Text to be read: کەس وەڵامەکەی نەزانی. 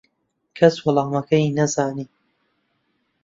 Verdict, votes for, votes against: accepted, 2, 0